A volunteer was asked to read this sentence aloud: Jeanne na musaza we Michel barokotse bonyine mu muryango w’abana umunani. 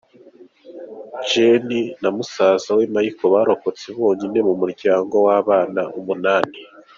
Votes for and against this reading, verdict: 2, 0, accepted